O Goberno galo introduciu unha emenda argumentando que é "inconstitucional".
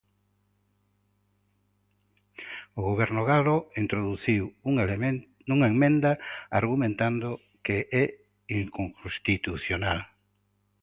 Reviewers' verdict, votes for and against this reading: rejected, 0, 2